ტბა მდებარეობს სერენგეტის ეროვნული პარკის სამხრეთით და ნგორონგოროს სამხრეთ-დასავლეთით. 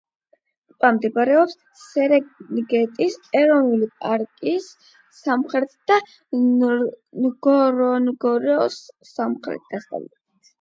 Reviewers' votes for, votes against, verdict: 8, 4, accepted